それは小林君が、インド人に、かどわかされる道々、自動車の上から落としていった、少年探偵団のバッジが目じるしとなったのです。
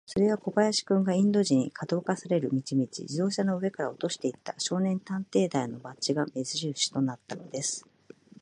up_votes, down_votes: 2, 0